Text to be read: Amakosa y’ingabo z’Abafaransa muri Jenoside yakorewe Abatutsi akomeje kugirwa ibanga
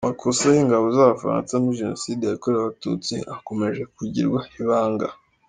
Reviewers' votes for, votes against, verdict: 3, 0, accepted